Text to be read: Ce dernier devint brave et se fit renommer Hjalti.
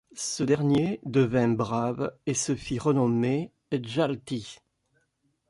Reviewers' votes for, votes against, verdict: 1, 2, rejected